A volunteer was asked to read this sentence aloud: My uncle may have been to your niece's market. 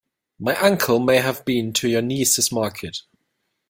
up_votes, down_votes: 2, 0